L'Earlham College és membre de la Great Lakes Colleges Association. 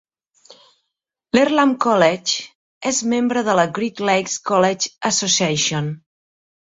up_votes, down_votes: 3, 0